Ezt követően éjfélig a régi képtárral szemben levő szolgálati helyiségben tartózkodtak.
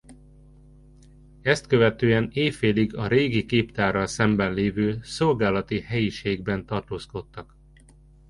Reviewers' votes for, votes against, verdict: 2, 0, accepted